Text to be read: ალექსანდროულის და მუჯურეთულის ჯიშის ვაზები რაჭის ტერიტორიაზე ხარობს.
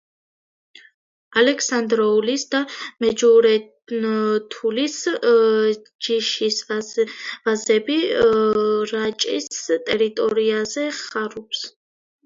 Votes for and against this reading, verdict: 1, 2, rejected